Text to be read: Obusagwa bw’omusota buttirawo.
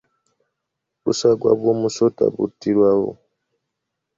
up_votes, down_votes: 2, 0